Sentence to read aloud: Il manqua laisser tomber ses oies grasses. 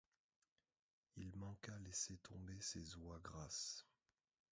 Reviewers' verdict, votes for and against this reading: rejected, 1, 2